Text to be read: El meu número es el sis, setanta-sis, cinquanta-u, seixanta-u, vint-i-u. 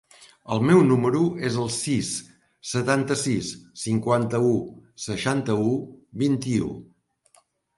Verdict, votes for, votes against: accepted, 3, 0